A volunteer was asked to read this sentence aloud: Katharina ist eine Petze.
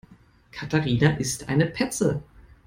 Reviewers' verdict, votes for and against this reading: accepted, 2, 0